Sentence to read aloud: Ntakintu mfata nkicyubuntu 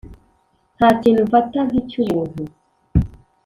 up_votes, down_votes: 1, 2